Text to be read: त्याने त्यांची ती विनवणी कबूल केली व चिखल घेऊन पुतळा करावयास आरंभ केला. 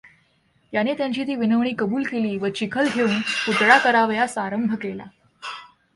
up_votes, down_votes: 2, 0